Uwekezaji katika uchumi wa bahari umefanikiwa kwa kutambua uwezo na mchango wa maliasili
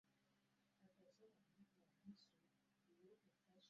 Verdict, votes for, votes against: rejected, 0, 2